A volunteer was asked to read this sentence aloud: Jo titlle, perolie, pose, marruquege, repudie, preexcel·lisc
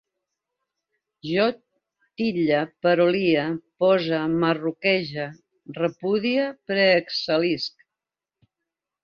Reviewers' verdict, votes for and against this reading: rejected, 0, 2